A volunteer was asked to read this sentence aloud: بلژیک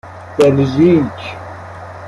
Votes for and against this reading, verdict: 2, 0, accepted